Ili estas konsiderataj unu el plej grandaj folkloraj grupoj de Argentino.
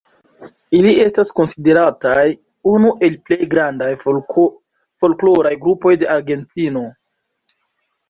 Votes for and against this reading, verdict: 1, 2, rejected